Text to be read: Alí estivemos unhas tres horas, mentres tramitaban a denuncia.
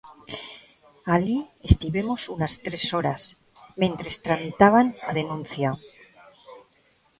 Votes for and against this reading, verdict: 0, 2, rejected